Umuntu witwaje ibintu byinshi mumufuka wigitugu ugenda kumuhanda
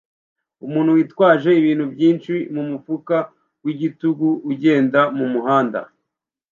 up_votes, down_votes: 1, 2